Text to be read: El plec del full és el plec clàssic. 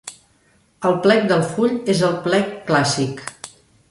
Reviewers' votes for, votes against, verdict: 3, 0, accepted